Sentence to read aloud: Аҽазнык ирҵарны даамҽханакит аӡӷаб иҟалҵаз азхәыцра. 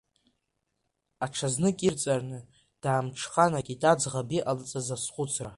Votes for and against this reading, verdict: 1, 2, rejected